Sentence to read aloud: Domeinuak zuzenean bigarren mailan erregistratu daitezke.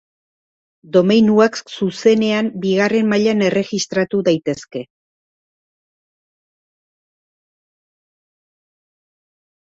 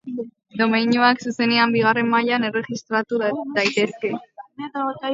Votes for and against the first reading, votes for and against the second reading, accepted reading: 3, 0, 0, 2, first